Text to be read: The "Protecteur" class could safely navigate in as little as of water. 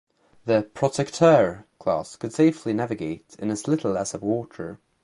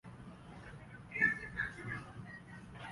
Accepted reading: first